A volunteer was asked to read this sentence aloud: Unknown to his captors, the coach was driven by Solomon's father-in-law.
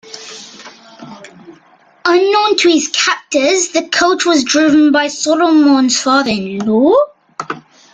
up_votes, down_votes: 2, 0